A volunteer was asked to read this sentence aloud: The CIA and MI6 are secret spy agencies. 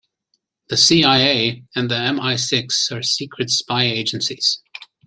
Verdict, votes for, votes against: rejected, 0, 2